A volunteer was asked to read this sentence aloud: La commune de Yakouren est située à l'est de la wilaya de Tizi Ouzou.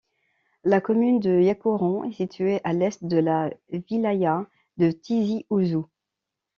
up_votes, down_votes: 2, 0